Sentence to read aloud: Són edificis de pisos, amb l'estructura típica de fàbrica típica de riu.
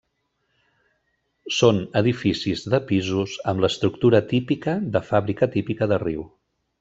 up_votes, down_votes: 3, 0